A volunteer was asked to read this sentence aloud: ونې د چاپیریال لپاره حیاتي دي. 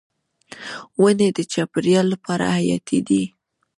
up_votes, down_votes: 1, 2